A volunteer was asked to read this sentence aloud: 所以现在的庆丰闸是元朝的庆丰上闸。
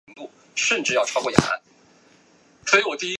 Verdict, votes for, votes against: rejected, 0, 2